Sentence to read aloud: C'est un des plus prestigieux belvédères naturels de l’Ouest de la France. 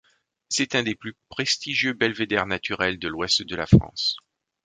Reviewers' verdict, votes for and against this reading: accepted, 2, 0